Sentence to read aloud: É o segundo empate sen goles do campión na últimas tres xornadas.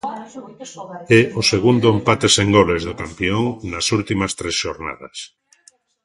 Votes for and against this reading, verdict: 0, 2, rejected